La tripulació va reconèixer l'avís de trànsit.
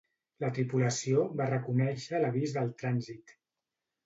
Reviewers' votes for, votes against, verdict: 1, 2, rejected